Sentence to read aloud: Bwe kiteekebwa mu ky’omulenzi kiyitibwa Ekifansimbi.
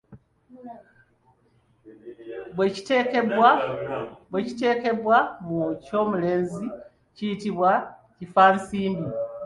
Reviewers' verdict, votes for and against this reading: rejected, 1, 2